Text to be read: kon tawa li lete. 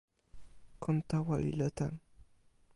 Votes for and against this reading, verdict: 1, 2, rejected